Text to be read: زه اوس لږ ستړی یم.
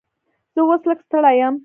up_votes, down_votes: 1, 2